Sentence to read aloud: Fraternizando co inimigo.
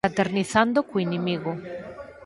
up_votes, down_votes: 0, 4